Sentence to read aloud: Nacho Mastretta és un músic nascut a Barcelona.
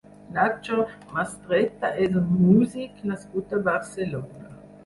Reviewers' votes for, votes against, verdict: 0, 4, rejected